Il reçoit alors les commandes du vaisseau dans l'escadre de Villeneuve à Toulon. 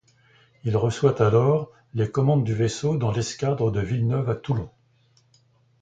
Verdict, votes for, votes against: accepted, 2, 0